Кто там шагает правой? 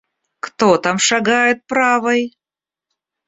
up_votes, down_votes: 2, 0